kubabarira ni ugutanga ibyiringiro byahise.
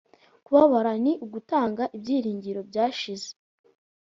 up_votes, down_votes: 0, 2